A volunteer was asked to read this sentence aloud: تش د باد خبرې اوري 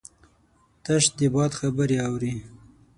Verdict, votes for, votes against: accepted, 6, 0